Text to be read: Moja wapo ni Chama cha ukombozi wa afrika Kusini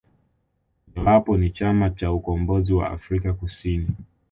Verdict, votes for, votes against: rejected, 0, 2